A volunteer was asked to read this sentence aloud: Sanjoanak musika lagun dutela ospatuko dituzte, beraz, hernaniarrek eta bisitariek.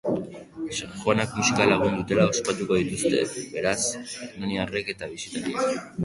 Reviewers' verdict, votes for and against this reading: accepted, 4, 0